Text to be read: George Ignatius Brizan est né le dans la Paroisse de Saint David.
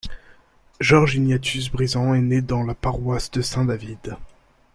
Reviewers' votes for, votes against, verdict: 1, 2, rejected